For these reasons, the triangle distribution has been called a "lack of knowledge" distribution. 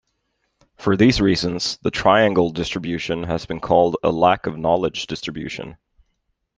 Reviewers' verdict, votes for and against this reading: accepted, 2, 0